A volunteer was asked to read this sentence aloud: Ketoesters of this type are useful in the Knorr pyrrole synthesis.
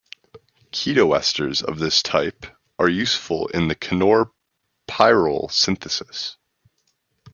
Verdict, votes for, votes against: rejected, 1, 2